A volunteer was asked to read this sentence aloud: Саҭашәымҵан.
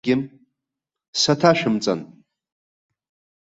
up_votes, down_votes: 1, 2